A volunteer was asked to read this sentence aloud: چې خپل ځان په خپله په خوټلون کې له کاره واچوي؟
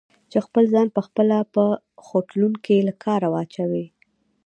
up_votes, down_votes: 1, 2